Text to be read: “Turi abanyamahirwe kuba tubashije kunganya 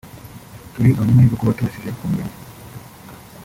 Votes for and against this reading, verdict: 0, 3, rejected